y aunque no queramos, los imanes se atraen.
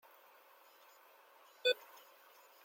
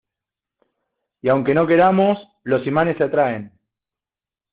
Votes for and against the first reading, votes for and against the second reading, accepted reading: 0, 2, 2, 0, second